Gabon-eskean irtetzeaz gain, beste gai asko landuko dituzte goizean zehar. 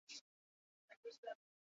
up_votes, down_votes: 0, 4